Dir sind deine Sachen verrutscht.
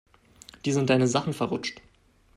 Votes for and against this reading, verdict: 2, 0, accepted